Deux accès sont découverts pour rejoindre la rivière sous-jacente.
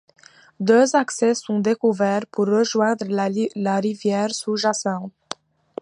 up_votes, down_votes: 2, 0